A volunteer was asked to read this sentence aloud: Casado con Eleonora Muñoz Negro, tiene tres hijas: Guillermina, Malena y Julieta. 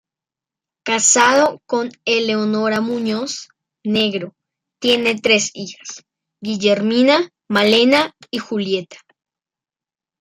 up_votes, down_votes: 2, 0